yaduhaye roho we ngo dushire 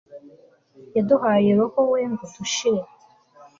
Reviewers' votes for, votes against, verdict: 2, 0, accepted